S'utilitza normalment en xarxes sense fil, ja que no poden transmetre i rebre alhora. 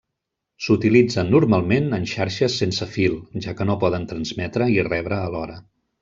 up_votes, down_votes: 1, 2